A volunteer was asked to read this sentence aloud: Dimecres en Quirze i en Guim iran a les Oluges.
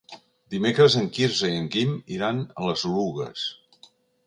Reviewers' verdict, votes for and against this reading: rejected, 1, 2